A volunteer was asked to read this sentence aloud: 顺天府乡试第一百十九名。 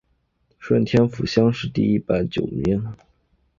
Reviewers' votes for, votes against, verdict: 2, 0, accepted